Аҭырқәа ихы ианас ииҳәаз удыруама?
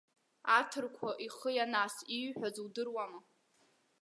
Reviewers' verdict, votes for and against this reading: accepted, 2, 0